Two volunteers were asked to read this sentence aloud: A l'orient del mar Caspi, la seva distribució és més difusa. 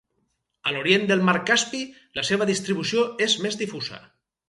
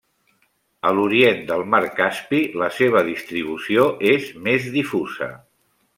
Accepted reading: first